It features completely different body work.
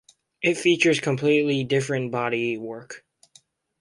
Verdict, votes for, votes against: accepted, 2, 0